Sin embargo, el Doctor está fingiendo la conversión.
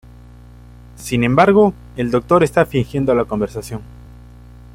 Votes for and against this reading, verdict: 0, 2, rejected